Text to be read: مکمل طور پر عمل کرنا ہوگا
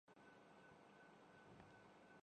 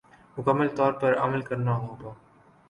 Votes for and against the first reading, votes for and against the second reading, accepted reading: 0, 2, 2, 0, second